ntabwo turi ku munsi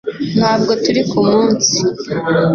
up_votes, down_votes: 3, 0